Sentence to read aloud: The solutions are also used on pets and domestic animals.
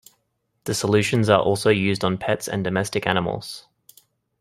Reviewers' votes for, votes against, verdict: 2, 0, accepted